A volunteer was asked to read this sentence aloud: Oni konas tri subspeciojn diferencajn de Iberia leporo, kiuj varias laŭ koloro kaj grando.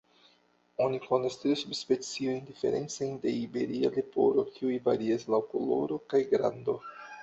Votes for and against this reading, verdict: 0, 2, rejected